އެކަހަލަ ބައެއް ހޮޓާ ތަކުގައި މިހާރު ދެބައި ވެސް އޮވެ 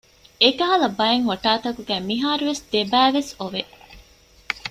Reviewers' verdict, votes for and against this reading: rejected, 1, 2